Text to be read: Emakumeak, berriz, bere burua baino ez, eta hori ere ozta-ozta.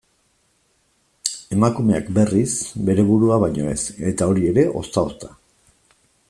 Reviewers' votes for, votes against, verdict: 2, 0, accepted